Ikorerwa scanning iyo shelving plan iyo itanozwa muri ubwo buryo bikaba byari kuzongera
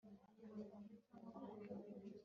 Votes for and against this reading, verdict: 0, 2, rejected